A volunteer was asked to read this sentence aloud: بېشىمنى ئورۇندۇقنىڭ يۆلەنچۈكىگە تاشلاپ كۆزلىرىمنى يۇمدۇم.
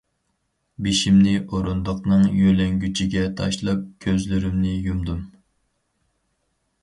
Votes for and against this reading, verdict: 0, 4, rejected